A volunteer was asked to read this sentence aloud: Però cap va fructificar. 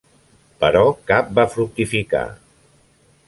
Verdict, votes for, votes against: accepted, 3, 0